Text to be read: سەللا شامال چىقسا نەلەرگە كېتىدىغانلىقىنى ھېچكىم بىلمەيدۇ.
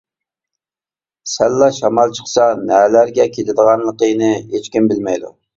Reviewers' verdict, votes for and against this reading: accepted, 2, 0